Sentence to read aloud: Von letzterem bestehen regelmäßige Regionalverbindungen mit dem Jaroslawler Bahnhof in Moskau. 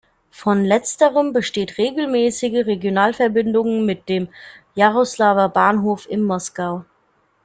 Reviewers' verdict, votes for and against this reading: rejected, 1, 2